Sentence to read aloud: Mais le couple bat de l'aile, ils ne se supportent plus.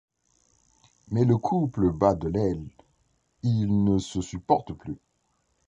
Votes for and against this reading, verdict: 2, 0, accepted